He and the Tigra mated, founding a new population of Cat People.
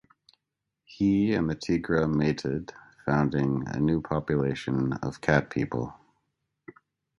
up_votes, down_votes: 2, 0